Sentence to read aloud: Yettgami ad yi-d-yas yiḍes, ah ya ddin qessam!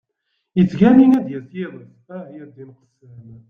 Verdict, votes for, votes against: rejected, 0, 2